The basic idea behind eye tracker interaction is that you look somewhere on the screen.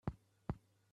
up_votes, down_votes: 0, 2